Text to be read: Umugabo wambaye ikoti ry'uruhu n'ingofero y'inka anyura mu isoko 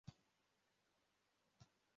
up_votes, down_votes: 0, 2